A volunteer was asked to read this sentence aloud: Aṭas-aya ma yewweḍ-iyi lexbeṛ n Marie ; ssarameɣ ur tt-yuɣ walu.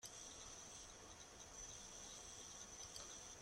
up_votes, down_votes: 0, 2